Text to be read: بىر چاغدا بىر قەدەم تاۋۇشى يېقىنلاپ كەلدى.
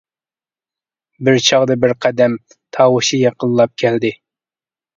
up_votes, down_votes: 2, 0